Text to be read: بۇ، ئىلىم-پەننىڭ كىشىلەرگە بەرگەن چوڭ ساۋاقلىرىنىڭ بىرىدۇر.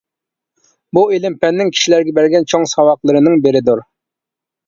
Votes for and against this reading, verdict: 2, 0, accepted